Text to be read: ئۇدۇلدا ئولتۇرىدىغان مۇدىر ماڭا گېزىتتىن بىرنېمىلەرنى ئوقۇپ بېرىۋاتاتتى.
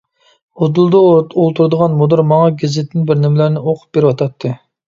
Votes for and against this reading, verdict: 0, 2, rejected